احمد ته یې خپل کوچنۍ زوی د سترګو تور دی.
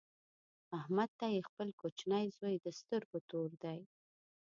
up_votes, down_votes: 2, 1